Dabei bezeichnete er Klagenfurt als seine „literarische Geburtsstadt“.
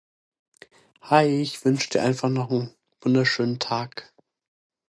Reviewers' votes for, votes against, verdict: 0, 2, rejected